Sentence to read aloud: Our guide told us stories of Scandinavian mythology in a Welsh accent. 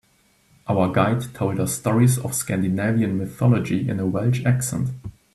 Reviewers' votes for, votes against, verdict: 2, 0, accepted